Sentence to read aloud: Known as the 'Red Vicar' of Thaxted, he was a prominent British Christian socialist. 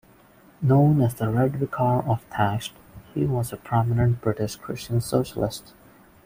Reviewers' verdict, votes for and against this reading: rejected, 1, 2